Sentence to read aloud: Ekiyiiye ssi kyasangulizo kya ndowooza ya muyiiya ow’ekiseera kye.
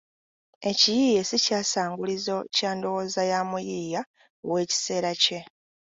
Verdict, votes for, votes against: accepted, 2, 1